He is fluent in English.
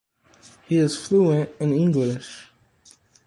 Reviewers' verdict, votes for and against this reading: accepted, 2, 0